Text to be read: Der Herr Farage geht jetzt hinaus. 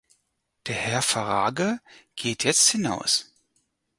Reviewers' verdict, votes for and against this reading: rejected, 0, 4